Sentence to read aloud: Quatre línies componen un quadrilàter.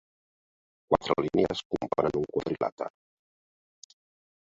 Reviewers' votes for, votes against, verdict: 1, 2, rejected